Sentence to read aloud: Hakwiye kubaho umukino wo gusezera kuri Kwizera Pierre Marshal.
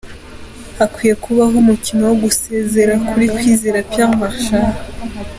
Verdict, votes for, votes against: accepted, 2, 0